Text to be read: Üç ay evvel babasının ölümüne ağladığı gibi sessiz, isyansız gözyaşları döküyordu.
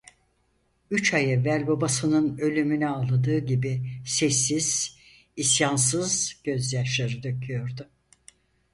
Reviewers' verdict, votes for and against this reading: accepted, 4, 0